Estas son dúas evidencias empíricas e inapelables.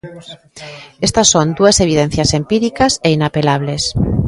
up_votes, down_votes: 1, 2